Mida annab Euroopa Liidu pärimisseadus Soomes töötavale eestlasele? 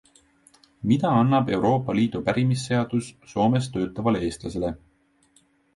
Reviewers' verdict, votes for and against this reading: accepted, 2, 0